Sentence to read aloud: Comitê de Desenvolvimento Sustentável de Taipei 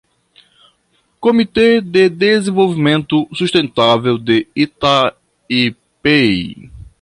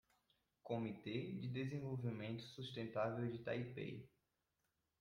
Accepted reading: second